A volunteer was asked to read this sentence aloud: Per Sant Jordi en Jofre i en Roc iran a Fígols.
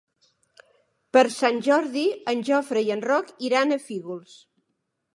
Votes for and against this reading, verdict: 3, 0, accepted